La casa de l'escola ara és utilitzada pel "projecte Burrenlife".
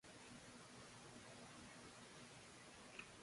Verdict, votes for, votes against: rejected, 0, 2